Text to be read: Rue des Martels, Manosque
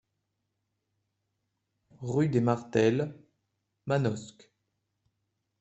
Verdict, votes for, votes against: rejected, 1, 2